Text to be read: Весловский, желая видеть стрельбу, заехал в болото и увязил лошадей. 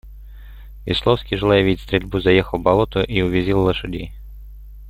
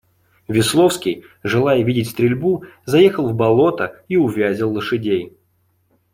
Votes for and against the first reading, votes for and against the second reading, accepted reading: 1, 2, 2, 0, second